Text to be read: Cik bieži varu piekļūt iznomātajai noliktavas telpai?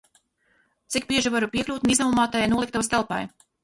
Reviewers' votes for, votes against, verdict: 2, 4, rejected